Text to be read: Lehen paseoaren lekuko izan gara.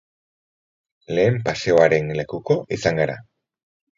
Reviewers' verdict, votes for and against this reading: accepted, 10, 0